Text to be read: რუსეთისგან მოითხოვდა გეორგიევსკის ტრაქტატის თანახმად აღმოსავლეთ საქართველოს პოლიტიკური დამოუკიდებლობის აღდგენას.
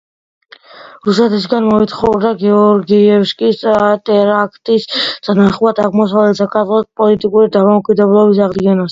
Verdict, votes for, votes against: accepted, 2, 1